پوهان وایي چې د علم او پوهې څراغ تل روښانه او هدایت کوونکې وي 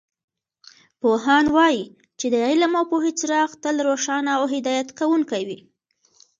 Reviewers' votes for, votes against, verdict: 2, 1, accepted